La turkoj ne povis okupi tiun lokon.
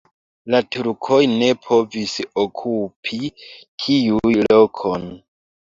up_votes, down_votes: 3, 1